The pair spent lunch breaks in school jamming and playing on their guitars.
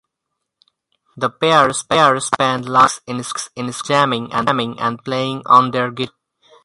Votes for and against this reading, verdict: 0, 4, rejected